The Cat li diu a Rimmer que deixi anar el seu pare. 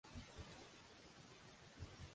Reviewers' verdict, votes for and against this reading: rejected, 0, 2